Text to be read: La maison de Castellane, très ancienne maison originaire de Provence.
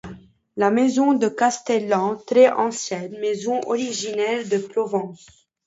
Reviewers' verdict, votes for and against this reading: rejected, 0, 2